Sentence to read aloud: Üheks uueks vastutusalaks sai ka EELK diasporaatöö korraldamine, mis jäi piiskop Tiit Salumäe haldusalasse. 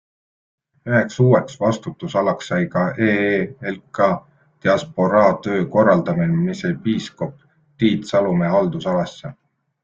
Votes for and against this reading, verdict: 2, 0, accepted